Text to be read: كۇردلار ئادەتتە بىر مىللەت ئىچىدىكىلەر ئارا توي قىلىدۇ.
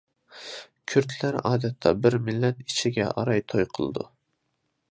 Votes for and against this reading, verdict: 0, 2, rejected